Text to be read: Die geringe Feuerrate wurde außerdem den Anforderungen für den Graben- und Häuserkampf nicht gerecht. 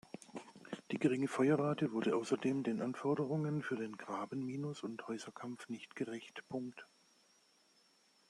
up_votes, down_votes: 0, 2